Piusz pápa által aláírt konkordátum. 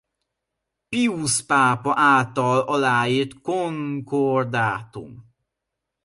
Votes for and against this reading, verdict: 0, 2, rejected